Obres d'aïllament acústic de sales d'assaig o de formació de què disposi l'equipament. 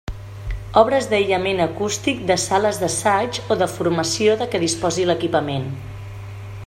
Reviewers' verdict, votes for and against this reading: accepted, 2, 0